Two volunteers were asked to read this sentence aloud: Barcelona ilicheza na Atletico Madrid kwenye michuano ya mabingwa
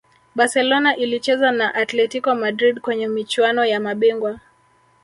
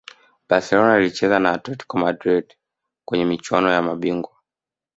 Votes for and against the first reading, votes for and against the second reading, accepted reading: 1, 2, 2, 0, second